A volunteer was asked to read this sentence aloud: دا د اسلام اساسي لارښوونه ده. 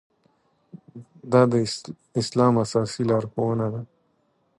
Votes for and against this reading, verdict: 1, 2, rejected